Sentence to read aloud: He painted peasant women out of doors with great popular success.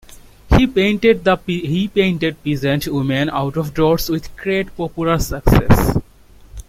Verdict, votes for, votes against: rejected, 1, 2